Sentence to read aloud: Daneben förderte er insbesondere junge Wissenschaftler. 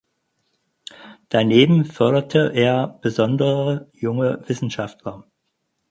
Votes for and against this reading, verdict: 0, 4, rejected